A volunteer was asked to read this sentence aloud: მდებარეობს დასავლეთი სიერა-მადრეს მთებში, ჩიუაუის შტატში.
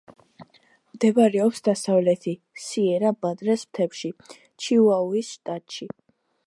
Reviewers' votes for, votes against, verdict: 2, 0, accepted